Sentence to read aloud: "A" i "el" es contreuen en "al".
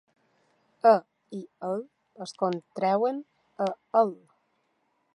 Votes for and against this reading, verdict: 0, 2, rejected